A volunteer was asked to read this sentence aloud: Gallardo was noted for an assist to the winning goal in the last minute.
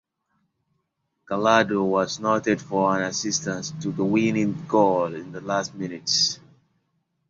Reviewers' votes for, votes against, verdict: 0, 2, rejected